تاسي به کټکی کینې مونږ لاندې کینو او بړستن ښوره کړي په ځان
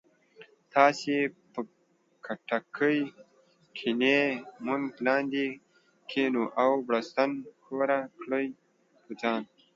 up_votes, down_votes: 1, 2